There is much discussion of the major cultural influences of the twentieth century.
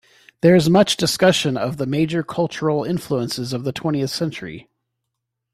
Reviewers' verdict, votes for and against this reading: accepted, 2, 1